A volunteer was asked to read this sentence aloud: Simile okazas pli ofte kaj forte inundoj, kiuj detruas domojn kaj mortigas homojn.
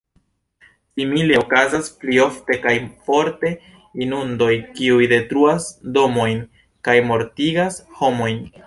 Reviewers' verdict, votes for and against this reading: accepted, 2, 1